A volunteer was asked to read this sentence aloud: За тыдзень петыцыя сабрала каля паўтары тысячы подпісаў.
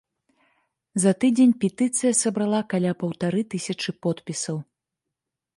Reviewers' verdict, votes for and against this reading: rejected, 1, 2